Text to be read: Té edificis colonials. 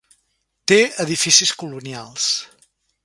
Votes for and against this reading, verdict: 2, 0, accepted